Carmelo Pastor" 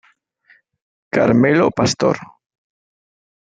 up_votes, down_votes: 1, 2